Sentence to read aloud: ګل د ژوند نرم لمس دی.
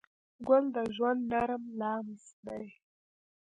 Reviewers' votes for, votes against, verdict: 2, 0, accepted